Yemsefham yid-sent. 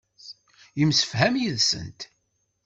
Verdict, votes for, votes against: accepted, 2, 0